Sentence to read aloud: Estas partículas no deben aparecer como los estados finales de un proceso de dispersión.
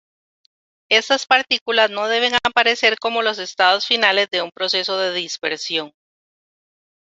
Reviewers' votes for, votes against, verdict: 0, 2, rejected